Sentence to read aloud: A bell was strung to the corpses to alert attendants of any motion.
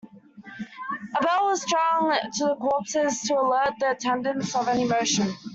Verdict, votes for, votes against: rejected, 0, 2